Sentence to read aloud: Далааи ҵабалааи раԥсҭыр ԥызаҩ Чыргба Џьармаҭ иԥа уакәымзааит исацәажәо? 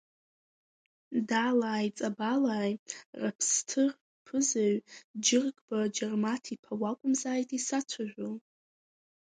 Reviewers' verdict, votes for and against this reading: accepted, 2, 1